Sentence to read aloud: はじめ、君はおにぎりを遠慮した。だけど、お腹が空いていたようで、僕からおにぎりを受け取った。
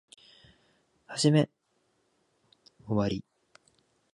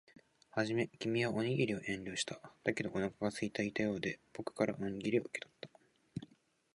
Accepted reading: second